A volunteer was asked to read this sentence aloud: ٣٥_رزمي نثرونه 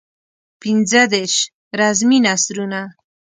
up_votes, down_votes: 0, 2